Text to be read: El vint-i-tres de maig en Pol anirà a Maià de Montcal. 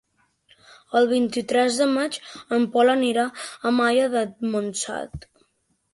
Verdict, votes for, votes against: rejected, 1, 2